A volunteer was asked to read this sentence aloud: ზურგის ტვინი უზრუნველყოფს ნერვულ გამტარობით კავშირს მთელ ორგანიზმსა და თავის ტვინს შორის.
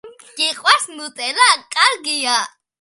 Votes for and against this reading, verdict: 0, 2, rejected